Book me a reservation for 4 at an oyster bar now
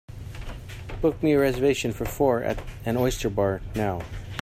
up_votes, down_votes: 0, 2